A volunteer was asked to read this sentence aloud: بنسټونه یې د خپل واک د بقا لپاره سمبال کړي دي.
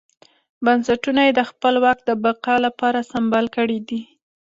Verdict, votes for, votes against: accepted, 2, 0